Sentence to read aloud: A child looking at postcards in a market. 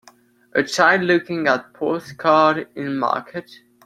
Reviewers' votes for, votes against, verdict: 1, 2, rejected